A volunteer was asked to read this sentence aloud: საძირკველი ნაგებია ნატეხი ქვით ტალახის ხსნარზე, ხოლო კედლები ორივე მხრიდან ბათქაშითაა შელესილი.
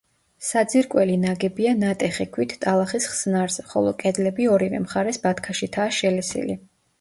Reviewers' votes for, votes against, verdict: 0, 2, rejected